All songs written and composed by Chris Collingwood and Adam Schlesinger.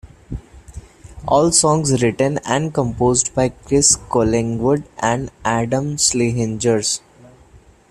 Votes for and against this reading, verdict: 1, 2, rejected